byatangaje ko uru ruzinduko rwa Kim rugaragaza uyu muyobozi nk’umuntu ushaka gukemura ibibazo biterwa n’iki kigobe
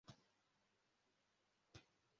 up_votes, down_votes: 0, 2